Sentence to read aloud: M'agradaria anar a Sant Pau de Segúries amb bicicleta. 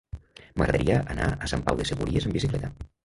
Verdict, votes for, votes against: rejected, 1, 2